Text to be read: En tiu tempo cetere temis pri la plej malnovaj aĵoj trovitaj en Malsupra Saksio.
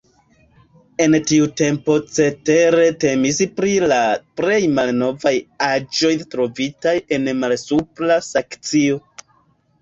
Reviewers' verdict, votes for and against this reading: rejected, 0, 2